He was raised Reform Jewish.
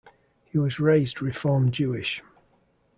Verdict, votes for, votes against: accepted, 2, 0